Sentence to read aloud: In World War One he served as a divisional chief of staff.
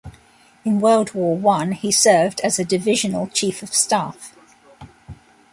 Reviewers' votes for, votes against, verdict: 2, 0, accepted